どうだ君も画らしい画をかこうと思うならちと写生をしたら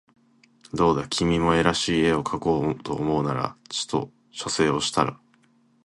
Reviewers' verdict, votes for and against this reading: rejected, 1, 3